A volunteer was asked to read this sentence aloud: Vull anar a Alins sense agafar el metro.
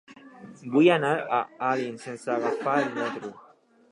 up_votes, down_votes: 1, 2